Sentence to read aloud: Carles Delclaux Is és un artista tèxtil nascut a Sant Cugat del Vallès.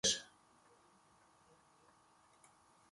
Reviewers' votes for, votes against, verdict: 0, 3, rejected